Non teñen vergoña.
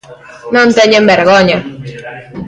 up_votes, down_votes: 0, 2